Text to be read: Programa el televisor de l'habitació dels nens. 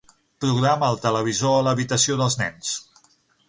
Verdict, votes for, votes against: rejected, 0, 6